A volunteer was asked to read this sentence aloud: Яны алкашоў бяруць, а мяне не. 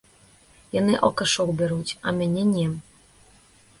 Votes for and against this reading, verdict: 1, 2, rejected